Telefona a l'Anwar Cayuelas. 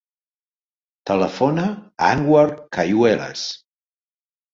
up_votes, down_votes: 0, 2